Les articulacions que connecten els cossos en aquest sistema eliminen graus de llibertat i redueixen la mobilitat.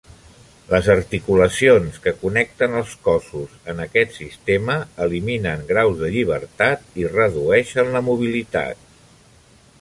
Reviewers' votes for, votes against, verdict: 3, 0, accepted